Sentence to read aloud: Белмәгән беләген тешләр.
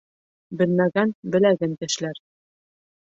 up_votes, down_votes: 2, 1